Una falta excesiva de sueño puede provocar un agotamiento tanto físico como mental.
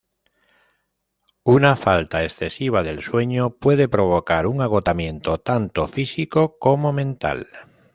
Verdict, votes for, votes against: rejected, 1, 2